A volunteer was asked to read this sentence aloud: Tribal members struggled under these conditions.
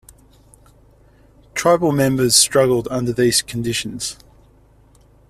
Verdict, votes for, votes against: accepted, 2, 0